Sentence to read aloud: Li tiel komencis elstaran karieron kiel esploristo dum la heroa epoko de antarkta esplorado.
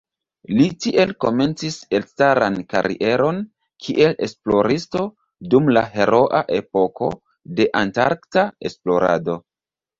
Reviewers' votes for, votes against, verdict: 2, 0, accepted